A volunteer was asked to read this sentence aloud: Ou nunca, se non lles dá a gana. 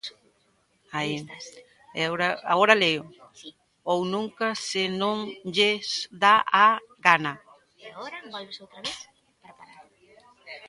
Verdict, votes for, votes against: rejected, 0, 2